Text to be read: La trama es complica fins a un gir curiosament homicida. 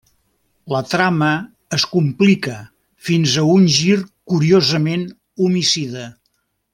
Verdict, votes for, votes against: accepted, 3, 0